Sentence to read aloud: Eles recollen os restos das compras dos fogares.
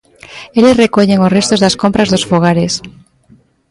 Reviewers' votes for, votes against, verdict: 0, 2, rejected